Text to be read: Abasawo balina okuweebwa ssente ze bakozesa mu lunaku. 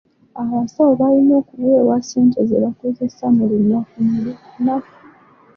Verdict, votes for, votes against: rejected, 1, 2